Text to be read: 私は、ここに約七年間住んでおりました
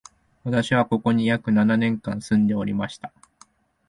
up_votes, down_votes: 2, 0